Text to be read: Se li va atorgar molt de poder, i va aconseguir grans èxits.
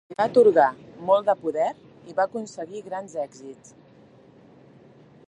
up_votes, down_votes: 0, 2